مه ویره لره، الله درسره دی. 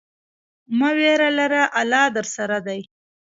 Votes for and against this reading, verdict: 2, 0, accepted